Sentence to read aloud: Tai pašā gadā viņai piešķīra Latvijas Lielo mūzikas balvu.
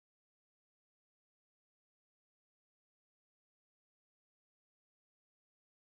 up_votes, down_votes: 0, 2